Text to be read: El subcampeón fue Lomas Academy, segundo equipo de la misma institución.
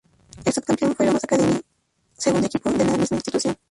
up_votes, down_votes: 0, 2